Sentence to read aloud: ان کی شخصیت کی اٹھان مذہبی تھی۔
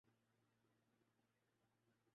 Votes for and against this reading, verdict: 0, 2, rejected